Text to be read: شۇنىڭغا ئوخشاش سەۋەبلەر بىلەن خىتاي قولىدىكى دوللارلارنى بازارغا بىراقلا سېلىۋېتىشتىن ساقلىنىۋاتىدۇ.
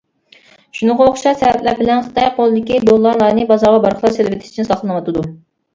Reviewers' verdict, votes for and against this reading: rejected, 1, 2